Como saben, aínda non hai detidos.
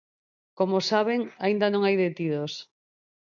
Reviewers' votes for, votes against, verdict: 4, 0, accepted